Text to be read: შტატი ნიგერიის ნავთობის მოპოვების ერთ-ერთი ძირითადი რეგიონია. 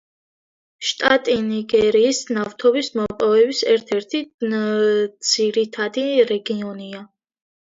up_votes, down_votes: 2, 0